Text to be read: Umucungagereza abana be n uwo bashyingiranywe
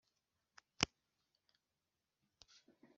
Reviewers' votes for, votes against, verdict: 1, 2, rejected